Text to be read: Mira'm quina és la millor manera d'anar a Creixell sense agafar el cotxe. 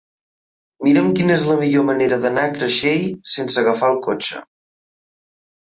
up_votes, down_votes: 3, 0